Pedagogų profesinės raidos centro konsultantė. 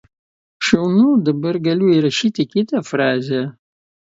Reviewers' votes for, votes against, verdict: 0, 2, rejected